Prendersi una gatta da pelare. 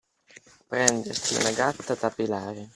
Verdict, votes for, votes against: accepted, 2, 0